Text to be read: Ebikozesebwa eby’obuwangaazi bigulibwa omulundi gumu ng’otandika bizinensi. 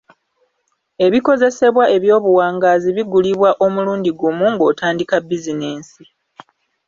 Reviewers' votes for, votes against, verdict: 2, 0, accepted